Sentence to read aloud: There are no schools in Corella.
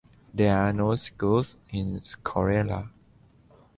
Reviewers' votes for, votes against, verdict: 1, 2, rejected